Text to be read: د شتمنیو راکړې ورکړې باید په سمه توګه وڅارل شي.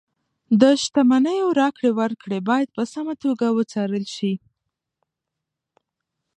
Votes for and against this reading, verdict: 1, 2, rejected